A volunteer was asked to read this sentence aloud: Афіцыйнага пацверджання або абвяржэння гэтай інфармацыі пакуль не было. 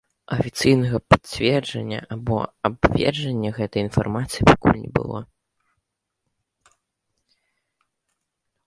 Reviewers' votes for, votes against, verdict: 1, 2, rejected